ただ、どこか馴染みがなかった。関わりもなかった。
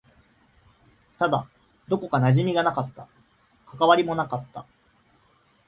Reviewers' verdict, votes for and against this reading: accepted, 2, 0